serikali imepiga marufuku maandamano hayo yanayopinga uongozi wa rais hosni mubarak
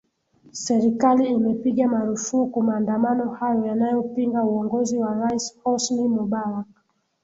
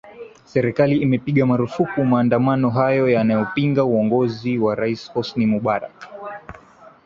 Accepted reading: second